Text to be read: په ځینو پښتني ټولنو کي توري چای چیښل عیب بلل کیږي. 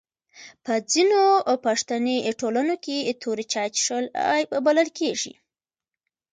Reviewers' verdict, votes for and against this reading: rejected, 1, 2